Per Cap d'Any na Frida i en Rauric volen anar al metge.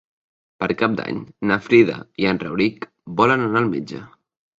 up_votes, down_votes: 3, 0